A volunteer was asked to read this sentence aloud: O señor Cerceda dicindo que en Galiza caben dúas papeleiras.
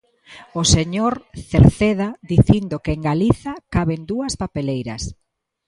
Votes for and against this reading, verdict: 2, 0, accepted